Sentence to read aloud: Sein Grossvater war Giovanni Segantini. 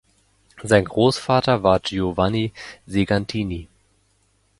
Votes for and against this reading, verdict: 2, 0, accepted